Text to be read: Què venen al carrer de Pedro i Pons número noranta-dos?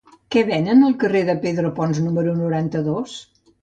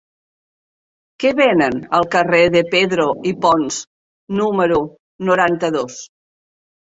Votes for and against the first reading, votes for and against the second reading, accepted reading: 0, 2, 3, 0, second